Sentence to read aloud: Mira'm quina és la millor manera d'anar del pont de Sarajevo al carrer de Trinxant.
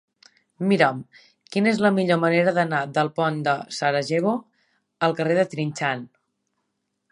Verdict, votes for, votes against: accepted, 3, 0